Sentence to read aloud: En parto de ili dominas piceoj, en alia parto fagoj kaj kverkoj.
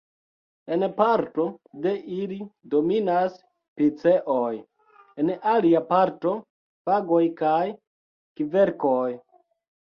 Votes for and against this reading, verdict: 0, 2, rejected